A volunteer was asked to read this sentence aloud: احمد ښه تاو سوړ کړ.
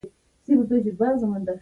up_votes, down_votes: 0, 2